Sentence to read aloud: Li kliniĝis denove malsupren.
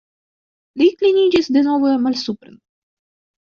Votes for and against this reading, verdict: 1, 2, rejected